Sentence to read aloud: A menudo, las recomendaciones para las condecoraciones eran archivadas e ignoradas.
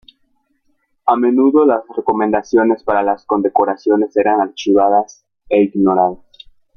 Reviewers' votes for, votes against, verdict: 2, 1, accepted